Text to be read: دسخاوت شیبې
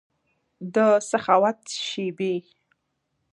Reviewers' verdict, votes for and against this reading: accepted, 2, 0